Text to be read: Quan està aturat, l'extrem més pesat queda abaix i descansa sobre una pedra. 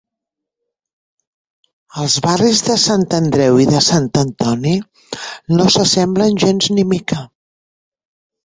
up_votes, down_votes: 0, 3